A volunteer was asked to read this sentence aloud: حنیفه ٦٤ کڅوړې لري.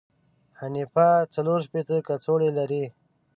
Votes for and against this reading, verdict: 0, 2, rejected